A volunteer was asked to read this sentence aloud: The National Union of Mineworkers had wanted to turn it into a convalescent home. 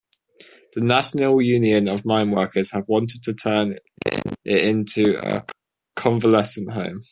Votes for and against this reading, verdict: 1, 2, rejected